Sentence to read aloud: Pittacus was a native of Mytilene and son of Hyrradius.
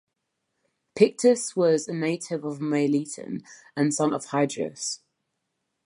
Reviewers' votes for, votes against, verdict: 1, 2, rejected